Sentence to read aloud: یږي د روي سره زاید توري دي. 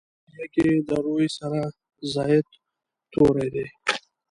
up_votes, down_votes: 1, 2